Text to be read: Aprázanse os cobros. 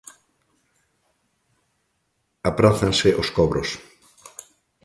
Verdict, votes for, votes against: accepted, 3, 0